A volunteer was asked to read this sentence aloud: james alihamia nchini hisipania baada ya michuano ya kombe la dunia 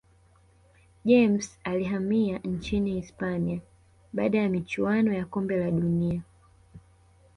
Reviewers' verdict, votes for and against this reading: rejected, 0, 2